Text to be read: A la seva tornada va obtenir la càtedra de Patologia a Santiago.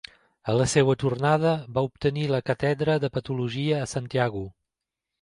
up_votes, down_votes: 1, 2